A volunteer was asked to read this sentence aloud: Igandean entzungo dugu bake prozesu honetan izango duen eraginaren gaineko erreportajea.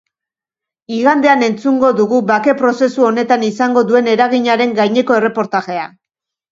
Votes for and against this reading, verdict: 2, 0, accepted